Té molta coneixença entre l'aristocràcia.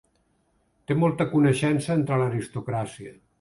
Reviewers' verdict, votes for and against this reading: accepted, 2, 0